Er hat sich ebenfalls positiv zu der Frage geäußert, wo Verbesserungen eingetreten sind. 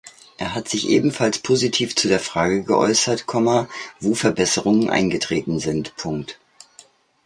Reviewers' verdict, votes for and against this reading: rejected, 1, 2